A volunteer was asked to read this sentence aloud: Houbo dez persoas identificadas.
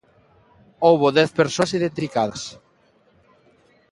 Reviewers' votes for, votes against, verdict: 0, 2, rejected